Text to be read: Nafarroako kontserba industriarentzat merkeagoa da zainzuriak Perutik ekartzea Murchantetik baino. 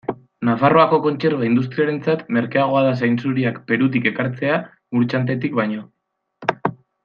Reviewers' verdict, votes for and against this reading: accepted, 2, 1